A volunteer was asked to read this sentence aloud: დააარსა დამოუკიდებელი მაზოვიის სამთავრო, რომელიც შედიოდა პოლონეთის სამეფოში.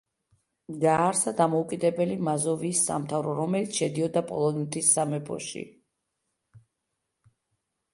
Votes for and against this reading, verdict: 3, 0, accepted